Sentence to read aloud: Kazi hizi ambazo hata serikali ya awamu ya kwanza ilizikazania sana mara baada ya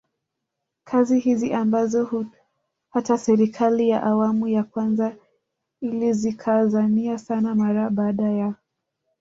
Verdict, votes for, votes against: rejected, 1, 2